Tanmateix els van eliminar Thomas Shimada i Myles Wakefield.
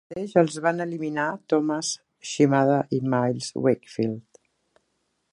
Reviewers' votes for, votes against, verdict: 1, 2, rejected